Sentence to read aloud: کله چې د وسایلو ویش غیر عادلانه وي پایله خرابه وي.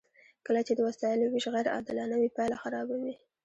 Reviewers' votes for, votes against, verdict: 2, 1, accepted